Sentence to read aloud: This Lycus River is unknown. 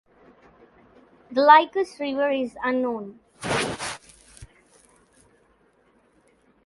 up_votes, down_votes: 0, 2